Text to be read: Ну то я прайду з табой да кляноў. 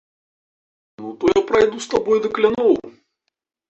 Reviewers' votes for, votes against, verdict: 1, 2, rejected